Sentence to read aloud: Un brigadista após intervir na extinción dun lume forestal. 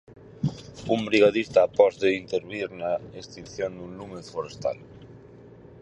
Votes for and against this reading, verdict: 2, 4, rejected